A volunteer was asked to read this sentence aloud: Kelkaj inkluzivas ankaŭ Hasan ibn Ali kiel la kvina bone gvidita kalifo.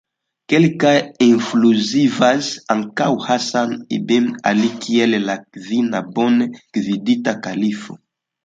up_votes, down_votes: 2, 0